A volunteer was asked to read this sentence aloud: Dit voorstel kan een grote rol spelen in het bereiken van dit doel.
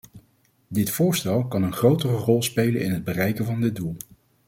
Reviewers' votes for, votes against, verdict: 0, 2, rejected